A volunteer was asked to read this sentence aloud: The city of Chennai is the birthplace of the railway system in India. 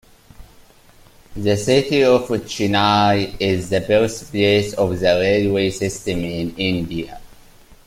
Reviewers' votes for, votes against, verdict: 2, 1, accepted